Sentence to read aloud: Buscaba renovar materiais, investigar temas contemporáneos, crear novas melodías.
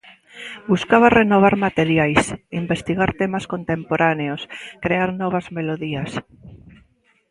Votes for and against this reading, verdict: 2, 0, accepted